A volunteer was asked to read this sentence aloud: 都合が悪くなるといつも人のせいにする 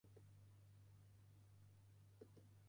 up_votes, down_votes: 0, 2